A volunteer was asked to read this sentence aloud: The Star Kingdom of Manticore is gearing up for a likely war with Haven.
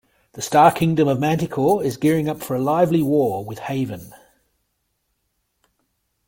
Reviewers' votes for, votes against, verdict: 0, 2, rejected